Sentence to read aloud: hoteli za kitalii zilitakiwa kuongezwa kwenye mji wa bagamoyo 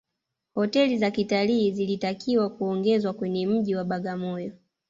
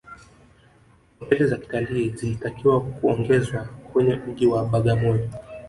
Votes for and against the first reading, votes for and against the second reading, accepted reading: 2, 0, 0, 2, first